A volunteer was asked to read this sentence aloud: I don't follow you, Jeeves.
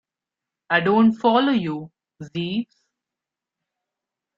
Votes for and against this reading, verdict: 1, 2, rejected